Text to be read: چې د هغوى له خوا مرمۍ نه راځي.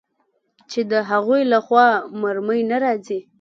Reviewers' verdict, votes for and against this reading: accepted, 2, 0